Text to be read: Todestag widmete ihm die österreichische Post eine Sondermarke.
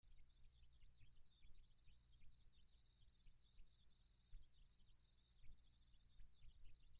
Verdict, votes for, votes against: rejected, 0, 2